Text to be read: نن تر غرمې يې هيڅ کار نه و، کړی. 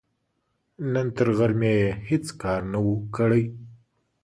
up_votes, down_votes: 2, 0